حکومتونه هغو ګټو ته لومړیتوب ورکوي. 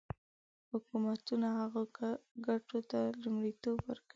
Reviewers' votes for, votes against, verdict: 1, 2, rejected